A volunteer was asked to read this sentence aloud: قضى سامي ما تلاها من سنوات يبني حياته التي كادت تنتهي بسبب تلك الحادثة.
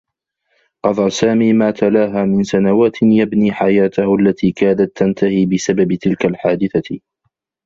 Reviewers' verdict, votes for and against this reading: accepted, 2, 0